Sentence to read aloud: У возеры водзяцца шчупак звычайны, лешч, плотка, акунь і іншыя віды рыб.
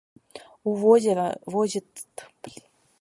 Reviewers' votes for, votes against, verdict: 0, 2, rejected